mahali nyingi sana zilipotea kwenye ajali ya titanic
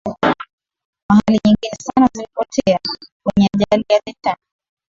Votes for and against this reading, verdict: 2, 3, rejected